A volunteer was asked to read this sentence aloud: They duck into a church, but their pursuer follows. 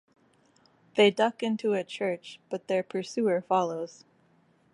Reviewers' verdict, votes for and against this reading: rejected, 0, 2